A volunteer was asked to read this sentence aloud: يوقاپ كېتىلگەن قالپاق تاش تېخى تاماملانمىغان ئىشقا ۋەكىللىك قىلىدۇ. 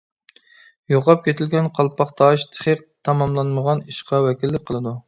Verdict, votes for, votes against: accepted, 2, 0